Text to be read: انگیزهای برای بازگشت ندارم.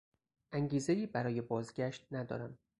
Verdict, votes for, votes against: accepted, 4, 0